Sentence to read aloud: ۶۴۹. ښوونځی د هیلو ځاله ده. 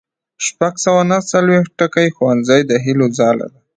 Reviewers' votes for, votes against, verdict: 0, 2, rejected